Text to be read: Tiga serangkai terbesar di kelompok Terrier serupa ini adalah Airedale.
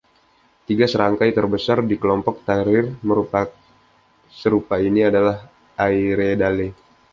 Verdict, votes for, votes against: rejected, 0, 2